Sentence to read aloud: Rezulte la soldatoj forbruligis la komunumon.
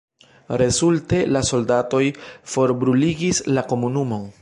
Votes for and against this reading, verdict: 1, 2, rejected